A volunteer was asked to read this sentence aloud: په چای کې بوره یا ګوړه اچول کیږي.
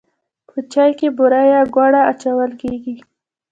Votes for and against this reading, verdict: 2, 0, accepted